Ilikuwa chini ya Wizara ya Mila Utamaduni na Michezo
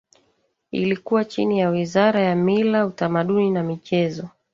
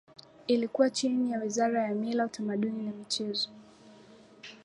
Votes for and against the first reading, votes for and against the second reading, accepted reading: 1, 2, 2, 0, second